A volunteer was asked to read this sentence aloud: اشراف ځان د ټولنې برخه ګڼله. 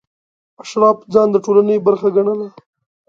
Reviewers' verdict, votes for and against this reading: accepted, 2, 0